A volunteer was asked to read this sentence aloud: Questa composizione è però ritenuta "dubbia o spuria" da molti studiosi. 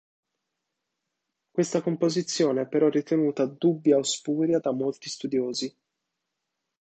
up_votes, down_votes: 2, 0